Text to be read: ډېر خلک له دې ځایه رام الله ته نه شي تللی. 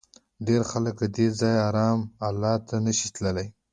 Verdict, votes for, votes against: accepted, 2, 0